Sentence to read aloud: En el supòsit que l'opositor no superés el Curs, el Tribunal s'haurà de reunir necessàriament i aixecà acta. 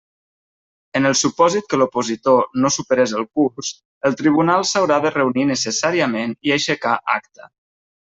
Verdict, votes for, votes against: accepted, 2, 1